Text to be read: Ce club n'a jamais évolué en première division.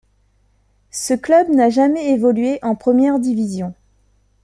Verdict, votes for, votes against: accepted, 2, 0